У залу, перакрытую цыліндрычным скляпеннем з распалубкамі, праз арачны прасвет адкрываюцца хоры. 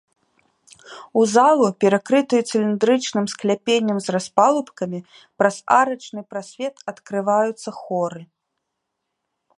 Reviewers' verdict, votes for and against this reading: accepted, 2, 1